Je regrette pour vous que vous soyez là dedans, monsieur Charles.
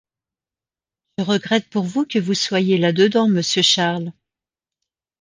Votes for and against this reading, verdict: 1, 2, rejected